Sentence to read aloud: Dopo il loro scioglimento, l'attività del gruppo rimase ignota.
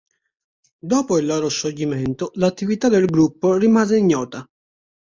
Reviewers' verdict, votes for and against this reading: accepted, 3, 0